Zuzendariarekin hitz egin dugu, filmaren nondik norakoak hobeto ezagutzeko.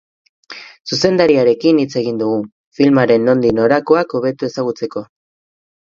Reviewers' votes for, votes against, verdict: 2, 2, rejected